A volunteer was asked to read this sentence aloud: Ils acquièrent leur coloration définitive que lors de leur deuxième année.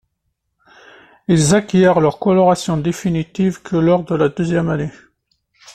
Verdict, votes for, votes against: rejected, 0, 2